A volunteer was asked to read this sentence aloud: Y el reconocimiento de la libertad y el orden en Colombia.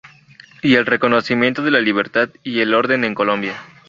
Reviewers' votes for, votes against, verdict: 0, 2, rejected